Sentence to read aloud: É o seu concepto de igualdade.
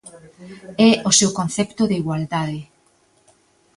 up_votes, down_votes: 2, 0